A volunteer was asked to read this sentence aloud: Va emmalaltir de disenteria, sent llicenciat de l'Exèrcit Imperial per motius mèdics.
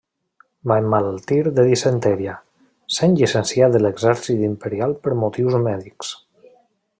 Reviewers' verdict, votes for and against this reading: rejected, 0, 2